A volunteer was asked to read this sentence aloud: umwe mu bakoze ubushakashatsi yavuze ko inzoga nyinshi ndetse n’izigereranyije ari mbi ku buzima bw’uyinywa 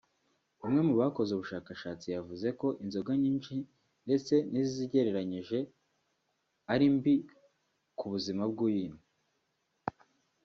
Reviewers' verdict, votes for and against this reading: accepted, 2, 0